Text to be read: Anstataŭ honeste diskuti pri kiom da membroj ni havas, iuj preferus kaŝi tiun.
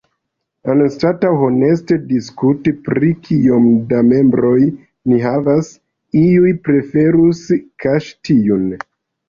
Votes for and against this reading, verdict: 0, 2, rejected